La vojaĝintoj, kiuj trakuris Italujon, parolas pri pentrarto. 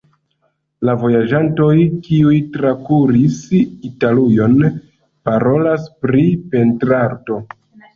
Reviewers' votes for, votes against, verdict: 0, 2, rejected